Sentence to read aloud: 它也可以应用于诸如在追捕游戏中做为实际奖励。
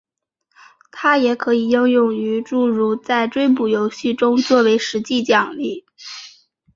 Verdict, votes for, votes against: rejected, 1, 2